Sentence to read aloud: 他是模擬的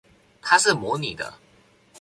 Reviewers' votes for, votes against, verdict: 4, 0, accepted